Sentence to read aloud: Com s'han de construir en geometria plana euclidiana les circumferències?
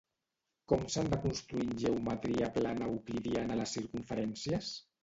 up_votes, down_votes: 0, 2